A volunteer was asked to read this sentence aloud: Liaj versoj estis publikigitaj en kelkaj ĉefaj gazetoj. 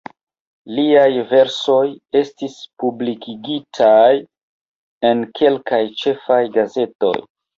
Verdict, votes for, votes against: rejected, 1, 2